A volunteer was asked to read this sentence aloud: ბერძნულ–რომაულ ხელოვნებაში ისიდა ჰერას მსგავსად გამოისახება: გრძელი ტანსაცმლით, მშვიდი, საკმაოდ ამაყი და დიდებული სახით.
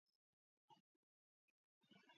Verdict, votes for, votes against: rejected, 1, 2